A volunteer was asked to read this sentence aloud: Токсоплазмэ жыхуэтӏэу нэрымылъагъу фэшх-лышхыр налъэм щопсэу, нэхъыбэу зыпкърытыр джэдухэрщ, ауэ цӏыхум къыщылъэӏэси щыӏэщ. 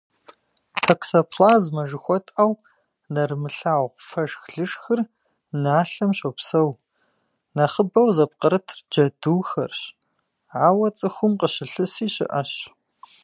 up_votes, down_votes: 1, 2